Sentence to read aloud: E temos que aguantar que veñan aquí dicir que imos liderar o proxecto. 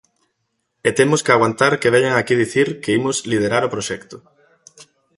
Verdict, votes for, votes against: accepted, 2, 0